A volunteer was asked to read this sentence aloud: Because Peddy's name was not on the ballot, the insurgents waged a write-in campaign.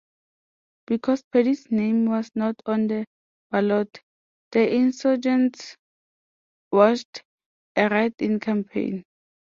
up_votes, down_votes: 1, 2